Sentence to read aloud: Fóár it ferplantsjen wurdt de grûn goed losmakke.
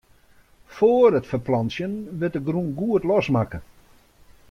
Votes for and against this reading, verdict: 1, 2, rejected